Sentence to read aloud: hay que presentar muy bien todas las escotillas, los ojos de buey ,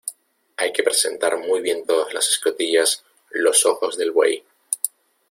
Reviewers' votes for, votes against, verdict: 0, 2, rejected